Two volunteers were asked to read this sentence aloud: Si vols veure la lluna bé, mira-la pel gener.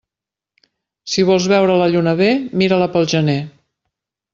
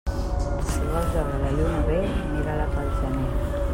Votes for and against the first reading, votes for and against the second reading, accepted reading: 6, 0, 1, 2, first